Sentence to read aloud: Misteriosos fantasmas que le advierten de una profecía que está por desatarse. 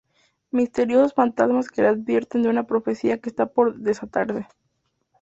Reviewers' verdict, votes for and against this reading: rejected, 0, 2